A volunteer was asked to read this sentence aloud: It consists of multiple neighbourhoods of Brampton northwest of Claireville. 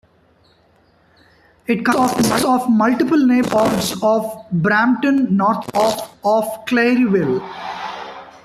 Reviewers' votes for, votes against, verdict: 1, 2, rejected